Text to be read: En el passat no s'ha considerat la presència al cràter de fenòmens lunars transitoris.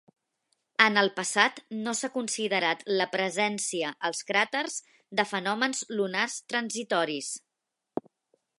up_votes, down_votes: 0, 2